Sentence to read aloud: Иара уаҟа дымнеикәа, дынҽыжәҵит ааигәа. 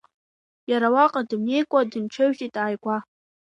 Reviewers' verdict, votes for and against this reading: rejected, 0, 2